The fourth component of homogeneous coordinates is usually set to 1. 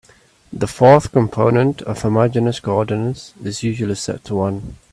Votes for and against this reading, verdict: 0, 2, rejected